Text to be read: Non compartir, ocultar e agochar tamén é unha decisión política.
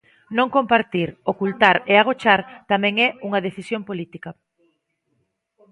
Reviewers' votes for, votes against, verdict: 2, 0, accepted